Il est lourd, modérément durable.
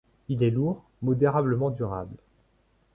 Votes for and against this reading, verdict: 1, 2, rejected